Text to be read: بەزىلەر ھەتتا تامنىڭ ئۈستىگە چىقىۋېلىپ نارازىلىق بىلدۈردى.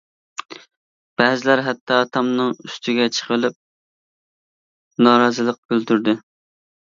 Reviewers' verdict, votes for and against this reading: accepted, 2, 0